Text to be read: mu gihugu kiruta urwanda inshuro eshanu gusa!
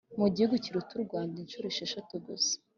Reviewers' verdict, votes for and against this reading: accepted, 2, 0